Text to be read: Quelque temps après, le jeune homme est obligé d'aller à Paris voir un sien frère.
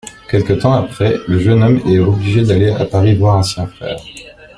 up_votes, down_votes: 2, 0